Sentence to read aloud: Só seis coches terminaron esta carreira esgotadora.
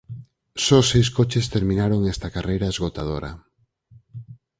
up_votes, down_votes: 4, 0